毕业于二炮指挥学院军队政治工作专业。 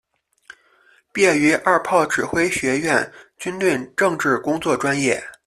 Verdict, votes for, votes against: accepted, 2, 1